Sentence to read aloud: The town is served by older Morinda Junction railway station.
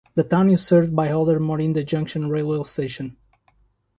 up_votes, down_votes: 3, 0